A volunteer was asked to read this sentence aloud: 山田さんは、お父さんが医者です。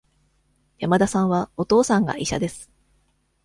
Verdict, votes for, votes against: accepted, 2, 0